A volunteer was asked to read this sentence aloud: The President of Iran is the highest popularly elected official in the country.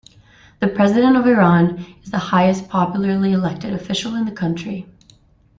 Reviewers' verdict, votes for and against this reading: accepted, 2, 0